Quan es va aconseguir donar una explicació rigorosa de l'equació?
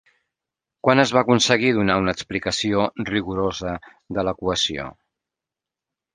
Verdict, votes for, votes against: accepted, 3, 0